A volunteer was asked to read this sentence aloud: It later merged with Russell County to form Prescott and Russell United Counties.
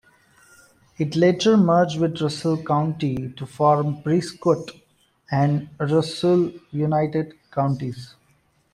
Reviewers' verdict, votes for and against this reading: accepted, 2, 0